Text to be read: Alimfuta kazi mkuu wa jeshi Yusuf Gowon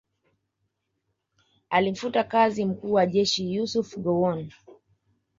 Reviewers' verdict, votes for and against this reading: accepted, 2, 0